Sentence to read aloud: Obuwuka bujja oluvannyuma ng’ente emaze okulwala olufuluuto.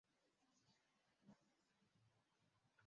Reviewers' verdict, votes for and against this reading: rejected, 0, 2